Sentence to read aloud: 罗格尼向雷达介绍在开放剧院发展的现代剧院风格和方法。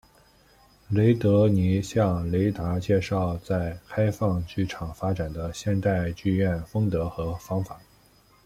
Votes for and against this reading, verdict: 0, 2, rejected